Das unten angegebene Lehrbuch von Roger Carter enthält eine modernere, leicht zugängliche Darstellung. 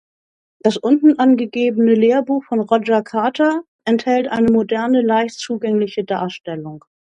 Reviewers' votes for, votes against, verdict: 0, 2, rejected